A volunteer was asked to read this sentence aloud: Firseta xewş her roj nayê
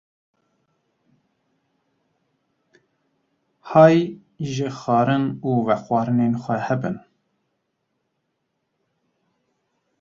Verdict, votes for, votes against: rejected, 0, 2